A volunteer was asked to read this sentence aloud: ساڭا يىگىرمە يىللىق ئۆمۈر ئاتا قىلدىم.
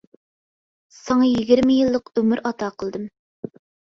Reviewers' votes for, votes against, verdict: 2, 0, accepted